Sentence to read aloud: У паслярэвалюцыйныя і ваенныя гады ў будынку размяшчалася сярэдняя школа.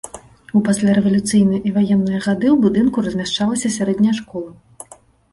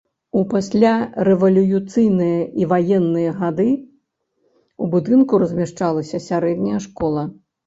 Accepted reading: first